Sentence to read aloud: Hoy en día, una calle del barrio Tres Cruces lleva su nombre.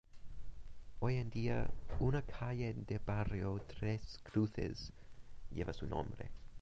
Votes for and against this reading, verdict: 0, 2, rejected